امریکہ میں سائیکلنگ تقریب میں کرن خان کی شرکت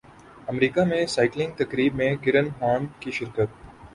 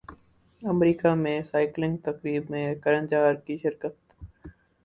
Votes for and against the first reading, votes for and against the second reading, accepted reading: 5, 0, 2, 4, first